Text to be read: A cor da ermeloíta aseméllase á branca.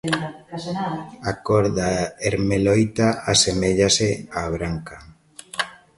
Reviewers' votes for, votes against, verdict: 3, 1, accepted